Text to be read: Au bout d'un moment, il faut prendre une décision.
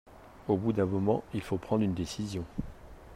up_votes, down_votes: 2, 0